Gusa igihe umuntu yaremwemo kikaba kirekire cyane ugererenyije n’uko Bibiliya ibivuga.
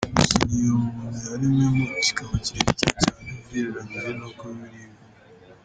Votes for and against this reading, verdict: 0, 2, rejected